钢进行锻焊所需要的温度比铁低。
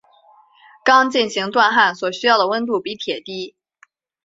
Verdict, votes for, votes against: accepted, 2, 0